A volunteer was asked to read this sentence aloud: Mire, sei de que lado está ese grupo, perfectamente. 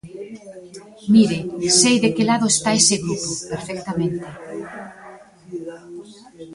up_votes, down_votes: 1, 2